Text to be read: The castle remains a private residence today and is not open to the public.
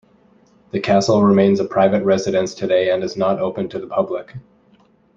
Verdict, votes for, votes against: accepted, 2, 0